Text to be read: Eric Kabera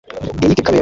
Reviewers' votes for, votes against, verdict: 0, 2, rejected